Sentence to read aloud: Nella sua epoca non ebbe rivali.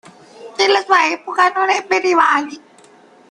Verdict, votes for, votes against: rejected, 0, 2